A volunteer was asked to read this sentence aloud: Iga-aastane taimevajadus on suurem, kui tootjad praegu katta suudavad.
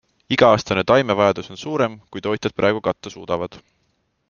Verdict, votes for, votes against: accepted, 2, 0